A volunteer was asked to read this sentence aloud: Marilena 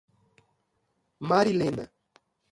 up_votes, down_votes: 2, 1